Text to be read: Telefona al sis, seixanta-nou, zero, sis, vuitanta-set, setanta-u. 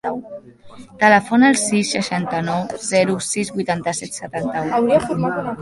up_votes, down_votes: 1, 2